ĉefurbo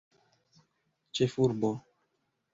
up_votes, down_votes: 1, 2